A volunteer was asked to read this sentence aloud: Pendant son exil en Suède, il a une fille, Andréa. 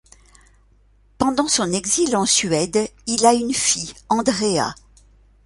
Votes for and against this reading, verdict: 2, 0, accepted